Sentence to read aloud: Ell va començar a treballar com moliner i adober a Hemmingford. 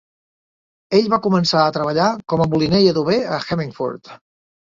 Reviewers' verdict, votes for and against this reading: rejected, 1, 3